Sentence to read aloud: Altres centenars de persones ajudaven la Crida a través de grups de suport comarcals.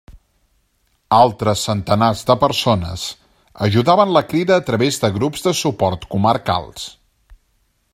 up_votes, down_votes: 2, 0